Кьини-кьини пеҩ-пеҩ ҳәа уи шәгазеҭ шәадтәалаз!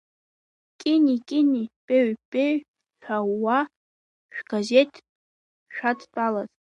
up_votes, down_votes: 0, 2